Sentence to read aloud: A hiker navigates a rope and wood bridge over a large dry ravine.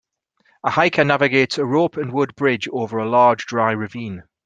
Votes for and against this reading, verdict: 6, 0, accepted